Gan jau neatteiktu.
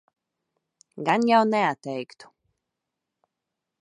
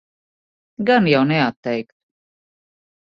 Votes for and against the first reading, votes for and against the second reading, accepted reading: 2, 0, 0, 2, first